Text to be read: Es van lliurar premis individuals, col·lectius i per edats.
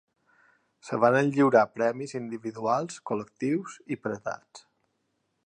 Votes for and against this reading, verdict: 1, 2, rejected